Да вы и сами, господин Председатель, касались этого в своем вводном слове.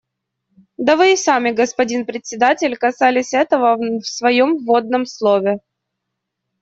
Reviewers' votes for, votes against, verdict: 2, 0, accepted